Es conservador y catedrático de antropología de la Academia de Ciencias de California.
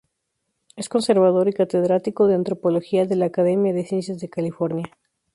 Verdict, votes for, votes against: accepted, 2, 0